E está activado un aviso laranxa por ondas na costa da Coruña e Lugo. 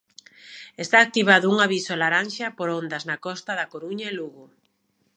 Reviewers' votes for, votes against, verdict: 1, 2, rejected